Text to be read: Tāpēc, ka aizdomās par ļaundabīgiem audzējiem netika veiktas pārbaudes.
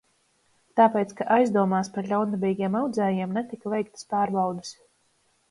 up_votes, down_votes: 2, 1